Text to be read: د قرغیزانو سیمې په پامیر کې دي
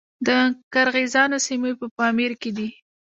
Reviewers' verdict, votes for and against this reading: rejected, 1, 2